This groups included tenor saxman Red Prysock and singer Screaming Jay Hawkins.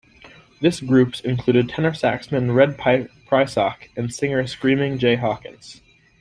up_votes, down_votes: 1, 2